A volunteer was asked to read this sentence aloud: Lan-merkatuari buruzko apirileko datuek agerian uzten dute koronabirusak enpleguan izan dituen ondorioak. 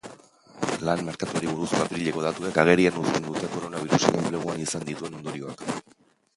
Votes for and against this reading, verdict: 0, 3, rejected